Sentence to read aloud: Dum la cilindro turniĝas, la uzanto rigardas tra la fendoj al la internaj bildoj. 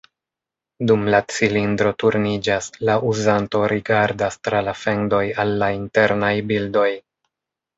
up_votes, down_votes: 1, 2